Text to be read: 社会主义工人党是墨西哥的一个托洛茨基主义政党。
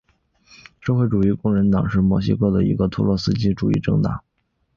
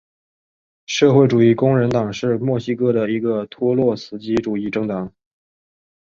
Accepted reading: first